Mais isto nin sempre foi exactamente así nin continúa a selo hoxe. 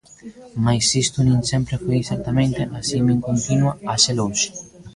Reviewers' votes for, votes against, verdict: 1, 2, rejected